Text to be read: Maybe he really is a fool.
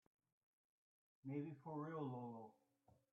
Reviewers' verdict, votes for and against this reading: rejected, 0, 2